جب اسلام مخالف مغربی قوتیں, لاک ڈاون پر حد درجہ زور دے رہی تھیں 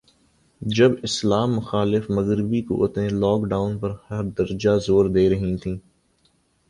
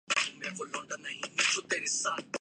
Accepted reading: first